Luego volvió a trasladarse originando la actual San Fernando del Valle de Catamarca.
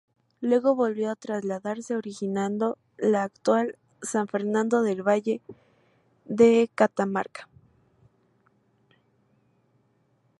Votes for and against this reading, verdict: 2, 2, rejected